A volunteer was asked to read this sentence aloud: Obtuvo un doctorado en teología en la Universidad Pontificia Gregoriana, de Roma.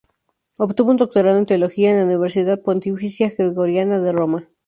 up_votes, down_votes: 0, 2